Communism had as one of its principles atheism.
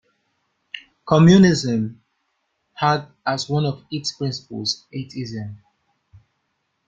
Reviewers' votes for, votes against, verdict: 2, 0, accepted